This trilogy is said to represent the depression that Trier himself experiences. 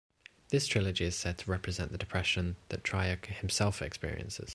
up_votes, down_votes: 2, 0